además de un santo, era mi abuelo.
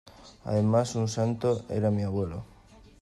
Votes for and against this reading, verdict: 1, 2, rejected